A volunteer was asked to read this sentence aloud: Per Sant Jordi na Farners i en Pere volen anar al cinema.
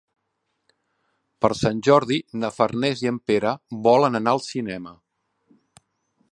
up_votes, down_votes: 3, 0